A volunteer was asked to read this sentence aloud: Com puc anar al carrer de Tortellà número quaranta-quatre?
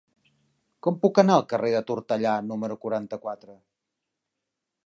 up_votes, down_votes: 3, 0